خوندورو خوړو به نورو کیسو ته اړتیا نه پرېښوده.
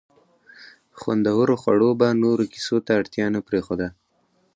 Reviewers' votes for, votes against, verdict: 4, 0, accepted